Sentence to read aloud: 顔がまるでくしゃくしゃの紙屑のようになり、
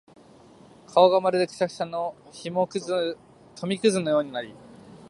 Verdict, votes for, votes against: rejected, 1, 2